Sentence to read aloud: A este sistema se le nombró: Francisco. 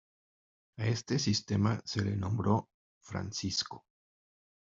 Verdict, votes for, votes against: accepted, 2, 0